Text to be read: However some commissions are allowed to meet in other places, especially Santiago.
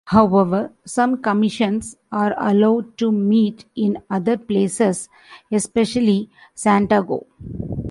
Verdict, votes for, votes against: rejected, 0, 2